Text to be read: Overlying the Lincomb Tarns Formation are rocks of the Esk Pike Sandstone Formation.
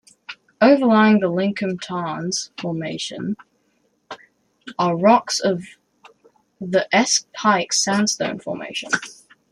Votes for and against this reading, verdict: 2, 0, accepted